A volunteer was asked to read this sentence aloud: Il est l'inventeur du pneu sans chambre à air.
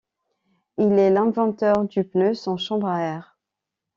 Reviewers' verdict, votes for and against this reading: accepted, 2, 0